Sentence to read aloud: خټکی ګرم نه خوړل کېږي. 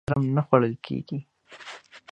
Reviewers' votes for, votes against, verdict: 1, 2, rejected